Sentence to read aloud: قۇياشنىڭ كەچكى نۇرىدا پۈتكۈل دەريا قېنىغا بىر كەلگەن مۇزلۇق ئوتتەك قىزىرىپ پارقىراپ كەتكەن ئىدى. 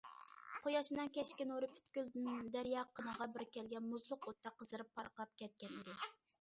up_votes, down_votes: 1, 2